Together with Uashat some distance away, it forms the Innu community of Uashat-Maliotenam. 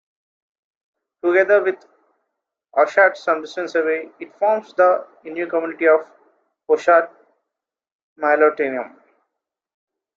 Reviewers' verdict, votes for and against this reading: rejected, 1, 2